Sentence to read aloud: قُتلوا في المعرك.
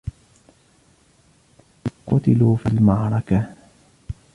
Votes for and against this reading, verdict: 1, 2, rejected